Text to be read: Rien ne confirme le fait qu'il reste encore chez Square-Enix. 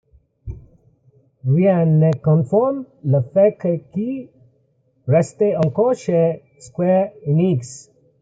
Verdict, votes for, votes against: rejected, 1, 2